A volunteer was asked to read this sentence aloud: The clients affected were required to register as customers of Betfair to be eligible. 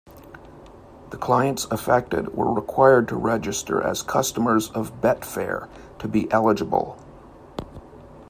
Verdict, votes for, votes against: accepted, 2, 0